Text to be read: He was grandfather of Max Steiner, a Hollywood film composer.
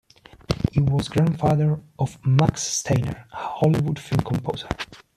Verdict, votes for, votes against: rejected, 0, 2